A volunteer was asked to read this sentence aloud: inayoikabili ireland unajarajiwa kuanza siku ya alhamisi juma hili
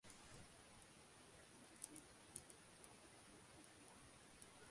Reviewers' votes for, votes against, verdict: 1, 2, rejected